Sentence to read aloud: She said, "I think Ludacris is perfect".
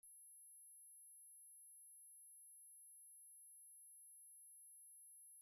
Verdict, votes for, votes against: rejected, 0, 2